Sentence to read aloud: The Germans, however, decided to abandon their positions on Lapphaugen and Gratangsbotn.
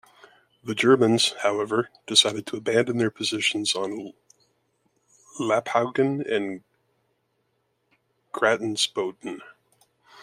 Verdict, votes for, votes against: rejected, 0, 2